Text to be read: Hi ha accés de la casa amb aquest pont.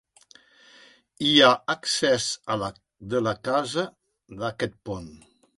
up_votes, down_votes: 0, 2